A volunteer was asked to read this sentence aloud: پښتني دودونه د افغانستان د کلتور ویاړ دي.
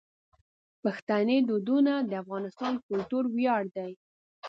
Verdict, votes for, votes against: rejected, 0, 2